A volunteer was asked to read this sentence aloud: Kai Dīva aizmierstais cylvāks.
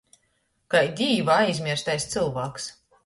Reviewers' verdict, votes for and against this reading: accepted, 2, 0